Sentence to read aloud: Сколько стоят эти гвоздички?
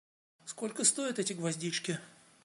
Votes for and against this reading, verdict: 2, 0, accepted